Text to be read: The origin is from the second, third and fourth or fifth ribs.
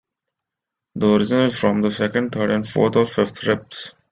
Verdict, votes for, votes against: accepted, 2, 0